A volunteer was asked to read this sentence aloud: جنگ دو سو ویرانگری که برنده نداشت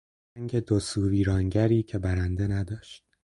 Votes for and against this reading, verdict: 2, 4, rejected